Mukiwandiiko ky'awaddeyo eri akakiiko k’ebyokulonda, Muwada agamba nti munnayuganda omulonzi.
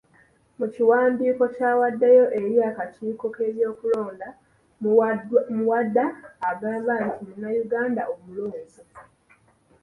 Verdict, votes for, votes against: rejected, 0, 2